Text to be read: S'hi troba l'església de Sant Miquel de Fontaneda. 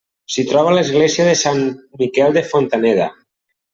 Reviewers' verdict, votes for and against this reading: rejected, 1, 2